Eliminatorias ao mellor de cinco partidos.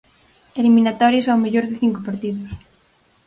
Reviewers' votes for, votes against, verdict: 4, 0, accepted